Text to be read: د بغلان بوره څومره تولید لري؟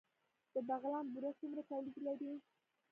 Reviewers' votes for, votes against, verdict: 2, 0, accepted